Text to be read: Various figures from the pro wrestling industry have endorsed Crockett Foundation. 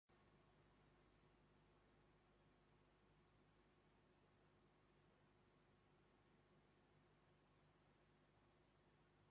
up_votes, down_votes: 0, 2